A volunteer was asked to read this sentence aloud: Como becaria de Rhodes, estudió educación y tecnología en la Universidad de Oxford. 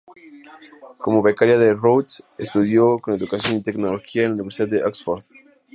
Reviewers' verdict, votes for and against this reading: accepted, 2, 0